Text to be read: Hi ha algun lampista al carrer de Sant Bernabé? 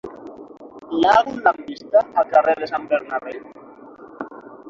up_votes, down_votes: 9, 3